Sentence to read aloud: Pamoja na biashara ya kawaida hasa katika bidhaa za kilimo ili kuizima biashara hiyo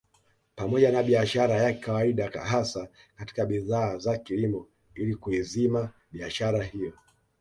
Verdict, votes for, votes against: accepted, 2, 0